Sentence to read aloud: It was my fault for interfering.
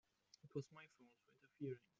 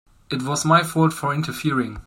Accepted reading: second